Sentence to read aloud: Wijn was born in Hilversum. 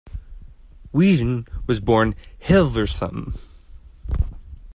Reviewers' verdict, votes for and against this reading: rejected, 0, 2